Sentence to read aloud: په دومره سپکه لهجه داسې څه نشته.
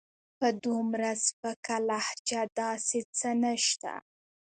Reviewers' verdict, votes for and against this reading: rejected, 1, 2